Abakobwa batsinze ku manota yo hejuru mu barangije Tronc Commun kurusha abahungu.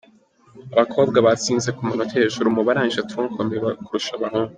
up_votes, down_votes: 2, 1